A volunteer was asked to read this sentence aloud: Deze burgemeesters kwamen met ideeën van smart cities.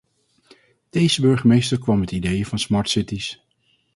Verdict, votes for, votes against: rejected, 0, 2